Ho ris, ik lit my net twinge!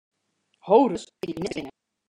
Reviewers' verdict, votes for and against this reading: rejected, 0, 2